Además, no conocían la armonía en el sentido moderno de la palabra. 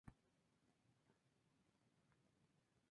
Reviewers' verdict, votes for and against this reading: rejected, 0, 2